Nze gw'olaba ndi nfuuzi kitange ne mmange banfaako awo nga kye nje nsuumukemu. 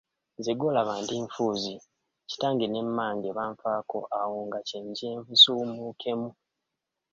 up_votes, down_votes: 2, 1